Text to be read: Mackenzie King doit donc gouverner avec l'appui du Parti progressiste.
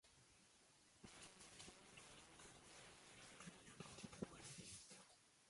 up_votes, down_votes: 0, 2